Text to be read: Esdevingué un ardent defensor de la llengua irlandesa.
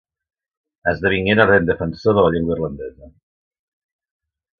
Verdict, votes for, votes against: rejected, 1, 2